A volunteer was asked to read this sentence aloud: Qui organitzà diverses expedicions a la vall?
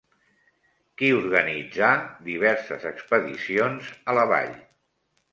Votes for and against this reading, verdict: 3, 0, accepted